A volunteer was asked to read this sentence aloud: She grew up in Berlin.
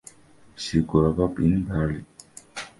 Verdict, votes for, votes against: accepted, 2, 1